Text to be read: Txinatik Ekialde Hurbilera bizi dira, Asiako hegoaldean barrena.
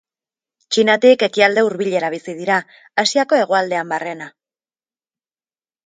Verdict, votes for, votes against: accepted, 2, 0